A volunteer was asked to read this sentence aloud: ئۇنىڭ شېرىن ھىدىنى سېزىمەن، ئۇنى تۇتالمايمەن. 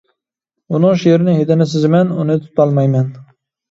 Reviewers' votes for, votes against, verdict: 1, 2, rejected